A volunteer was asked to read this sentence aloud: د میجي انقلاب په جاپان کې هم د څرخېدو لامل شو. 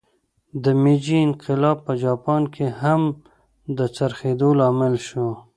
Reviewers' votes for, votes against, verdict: 2, 1, accepted